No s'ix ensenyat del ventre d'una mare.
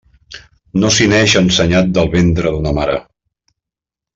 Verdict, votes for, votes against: rejected, 1, 2